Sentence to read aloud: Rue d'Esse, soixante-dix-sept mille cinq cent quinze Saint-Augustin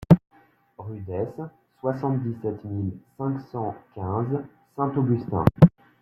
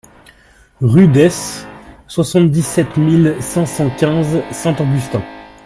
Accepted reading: first